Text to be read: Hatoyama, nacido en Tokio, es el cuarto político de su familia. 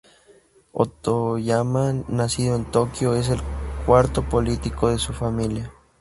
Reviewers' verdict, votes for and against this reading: rejected, 0, 4